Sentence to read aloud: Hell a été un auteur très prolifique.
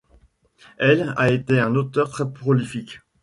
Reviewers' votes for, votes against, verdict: 0, 2, rejected